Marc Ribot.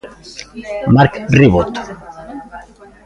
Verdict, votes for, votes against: accepted, 2, 0